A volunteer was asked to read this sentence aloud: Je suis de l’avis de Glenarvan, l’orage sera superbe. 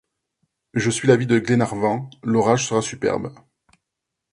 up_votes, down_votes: 3, 6